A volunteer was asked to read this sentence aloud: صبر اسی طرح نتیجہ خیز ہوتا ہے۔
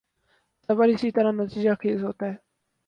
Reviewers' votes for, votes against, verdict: 0, 2, rejected